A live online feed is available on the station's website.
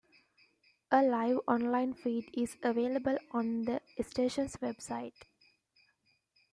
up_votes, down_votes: 2, 0